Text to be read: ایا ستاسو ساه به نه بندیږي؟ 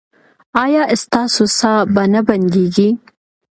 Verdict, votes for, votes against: accepted, 2, 0